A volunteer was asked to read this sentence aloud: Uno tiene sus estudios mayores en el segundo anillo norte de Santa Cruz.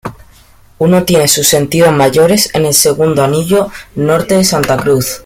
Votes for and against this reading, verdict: 1, 2, rejected